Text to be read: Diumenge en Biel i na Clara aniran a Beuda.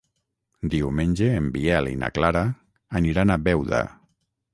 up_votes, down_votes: 6, 0